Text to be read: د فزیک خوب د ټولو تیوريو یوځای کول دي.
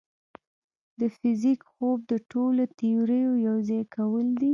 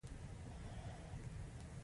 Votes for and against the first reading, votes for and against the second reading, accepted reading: 1, 2, 2, 0, second